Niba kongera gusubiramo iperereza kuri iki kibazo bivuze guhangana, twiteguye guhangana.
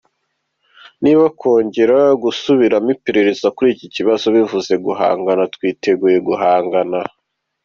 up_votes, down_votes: 2, 0